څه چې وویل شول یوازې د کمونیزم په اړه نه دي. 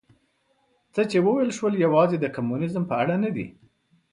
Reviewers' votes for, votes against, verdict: 4, 0, accepted